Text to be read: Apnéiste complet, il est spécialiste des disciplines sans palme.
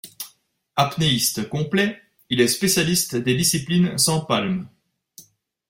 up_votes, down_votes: 0, 2